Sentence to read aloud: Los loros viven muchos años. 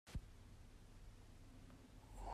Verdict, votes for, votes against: rejected, 0, 2